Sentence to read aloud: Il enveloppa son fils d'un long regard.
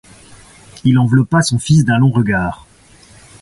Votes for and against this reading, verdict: 2, 0, accepted